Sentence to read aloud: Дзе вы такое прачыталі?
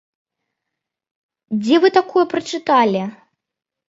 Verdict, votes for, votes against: accepted, 2, 0